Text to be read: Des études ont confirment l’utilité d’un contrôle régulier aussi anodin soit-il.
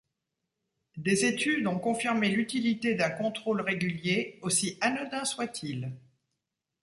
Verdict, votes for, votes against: rejected, 1, 2